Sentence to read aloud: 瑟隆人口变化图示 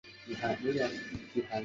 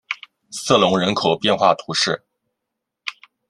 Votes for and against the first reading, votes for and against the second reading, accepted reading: 0, 3, 2, 0, second